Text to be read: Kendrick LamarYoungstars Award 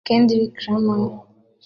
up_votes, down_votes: 0, 2